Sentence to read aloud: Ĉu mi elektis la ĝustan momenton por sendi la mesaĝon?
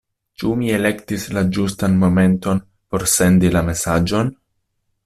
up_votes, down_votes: 2, 0